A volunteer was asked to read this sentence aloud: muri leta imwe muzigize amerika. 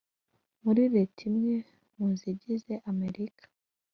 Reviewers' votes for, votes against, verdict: 2, 0, accepted